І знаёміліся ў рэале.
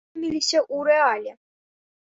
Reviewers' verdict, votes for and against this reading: rejected, 1, 2